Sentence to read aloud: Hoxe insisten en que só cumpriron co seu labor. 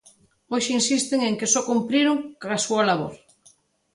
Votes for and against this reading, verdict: 0, 2, rejected